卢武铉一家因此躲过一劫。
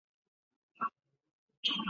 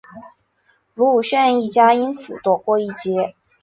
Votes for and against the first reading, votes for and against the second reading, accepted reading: 4, 5, 2, 0, second